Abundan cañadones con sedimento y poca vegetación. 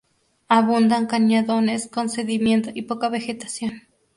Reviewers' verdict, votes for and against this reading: rejected, 0, 2